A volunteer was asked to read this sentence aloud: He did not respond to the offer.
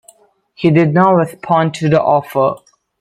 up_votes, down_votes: 2, 1